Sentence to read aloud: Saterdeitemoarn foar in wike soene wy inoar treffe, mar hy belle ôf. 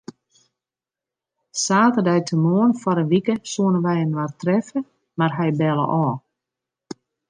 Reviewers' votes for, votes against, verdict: 2, 0, accepted